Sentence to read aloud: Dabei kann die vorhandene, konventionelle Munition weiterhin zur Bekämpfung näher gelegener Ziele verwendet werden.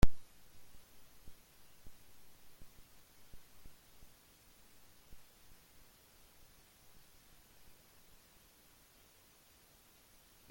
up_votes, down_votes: 0, 3